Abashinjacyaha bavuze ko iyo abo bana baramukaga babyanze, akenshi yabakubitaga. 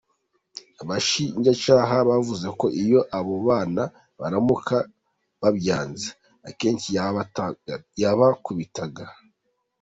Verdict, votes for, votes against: rejected, 0, 2